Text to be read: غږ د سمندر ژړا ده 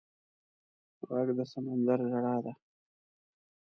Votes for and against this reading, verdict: 2, 0, accepted